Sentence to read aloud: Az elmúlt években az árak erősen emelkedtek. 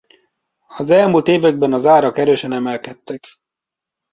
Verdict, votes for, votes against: accepted, 2, 0